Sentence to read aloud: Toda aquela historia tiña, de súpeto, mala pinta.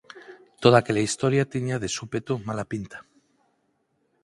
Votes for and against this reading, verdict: 4, 2, accepted